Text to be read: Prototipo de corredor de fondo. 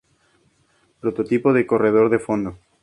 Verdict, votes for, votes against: accepted, 2, 0